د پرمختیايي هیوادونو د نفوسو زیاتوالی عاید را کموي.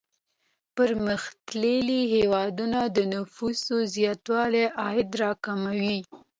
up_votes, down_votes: 0, 2